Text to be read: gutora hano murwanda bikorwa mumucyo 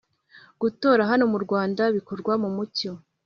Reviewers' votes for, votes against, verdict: 2, 0, accepted